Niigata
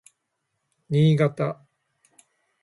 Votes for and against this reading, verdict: 2, 0, accepted